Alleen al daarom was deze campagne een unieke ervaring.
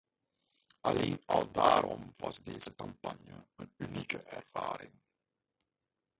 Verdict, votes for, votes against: rejected, 0, 2